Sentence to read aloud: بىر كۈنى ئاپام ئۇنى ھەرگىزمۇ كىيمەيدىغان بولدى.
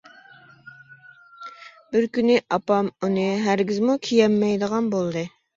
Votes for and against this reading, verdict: 0, 2, rejected